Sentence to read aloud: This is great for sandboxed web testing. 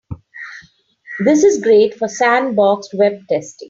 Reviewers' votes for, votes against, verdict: 2, 0, accepted